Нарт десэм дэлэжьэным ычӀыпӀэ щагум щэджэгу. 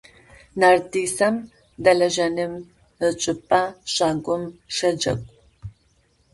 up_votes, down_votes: 0, 2